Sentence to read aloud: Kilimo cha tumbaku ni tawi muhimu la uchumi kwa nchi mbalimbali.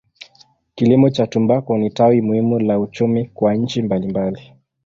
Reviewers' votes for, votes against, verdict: 2, 0, accepted